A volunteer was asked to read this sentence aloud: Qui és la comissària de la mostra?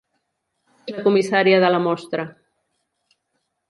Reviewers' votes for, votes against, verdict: 0, 2, rejected